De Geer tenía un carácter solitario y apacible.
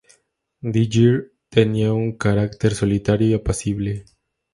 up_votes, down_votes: 2, 0